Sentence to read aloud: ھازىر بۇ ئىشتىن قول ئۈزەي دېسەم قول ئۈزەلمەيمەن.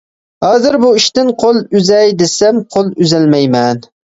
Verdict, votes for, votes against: accepted, 2, 0